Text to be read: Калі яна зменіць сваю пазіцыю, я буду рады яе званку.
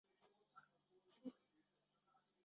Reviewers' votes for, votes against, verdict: 0, 2, rejected